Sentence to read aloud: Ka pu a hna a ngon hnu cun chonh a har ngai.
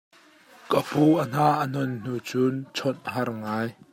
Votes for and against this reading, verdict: 1, 2, rejected